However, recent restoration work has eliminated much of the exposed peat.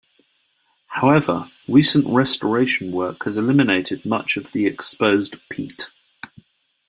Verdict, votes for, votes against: accepted, 2, 1